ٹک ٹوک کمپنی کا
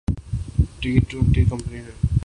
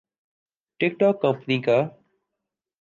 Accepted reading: second